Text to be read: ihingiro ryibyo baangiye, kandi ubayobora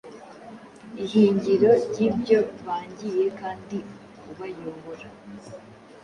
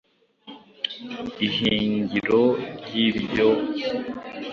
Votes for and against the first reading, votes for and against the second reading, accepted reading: 2, 0, 2, 3, first